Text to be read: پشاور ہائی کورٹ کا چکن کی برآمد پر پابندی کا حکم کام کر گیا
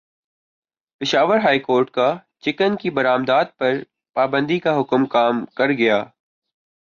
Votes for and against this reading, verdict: 0, 2, rejected